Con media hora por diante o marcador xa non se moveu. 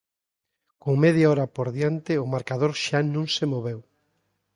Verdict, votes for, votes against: accepted, 2, 0